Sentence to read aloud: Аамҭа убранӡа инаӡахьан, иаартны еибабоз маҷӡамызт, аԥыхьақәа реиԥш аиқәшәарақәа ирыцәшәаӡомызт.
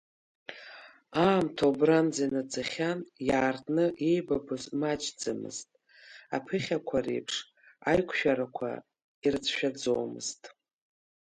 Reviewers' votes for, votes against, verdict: 1, 2, rejected